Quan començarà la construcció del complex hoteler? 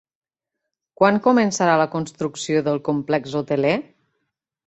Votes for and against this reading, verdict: 3, 0, accepted